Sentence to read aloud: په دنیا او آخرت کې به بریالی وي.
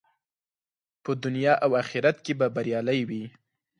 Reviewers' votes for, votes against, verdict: 4, 0, accepted